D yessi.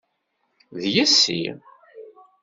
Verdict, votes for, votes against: accepted, 2, 0